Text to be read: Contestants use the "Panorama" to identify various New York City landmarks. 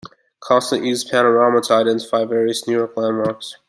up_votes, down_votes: 1, 2